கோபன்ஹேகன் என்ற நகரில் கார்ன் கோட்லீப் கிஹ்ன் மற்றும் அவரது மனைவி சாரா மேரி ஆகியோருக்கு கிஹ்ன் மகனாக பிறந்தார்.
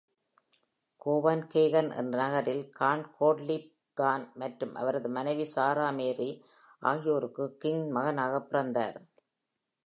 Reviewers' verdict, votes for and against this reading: accepted, 2, 0